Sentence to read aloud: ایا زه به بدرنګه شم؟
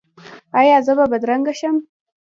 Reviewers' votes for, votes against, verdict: 2, 1, accepted